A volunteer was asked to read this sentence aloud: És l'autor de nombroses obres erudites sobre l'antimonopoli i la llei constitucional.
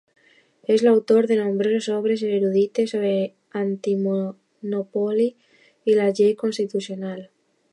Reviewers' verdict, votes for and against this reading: accepted, 2, 1